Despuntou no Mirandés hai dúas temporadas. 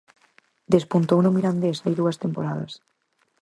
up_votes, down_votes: 4, 0